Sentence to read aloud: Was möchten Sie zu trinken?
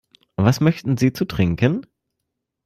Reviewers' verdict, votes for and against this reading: accepted, 2, 0